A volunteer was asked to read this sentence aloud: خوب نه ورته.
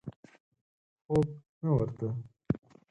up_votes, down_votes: 4, 0